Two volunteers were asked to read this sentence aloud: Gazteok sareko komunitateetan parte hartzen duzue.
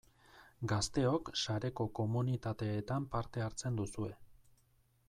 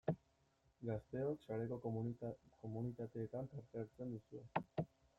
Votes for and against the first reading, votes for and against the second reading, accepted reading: 2, 0, 0, 2, first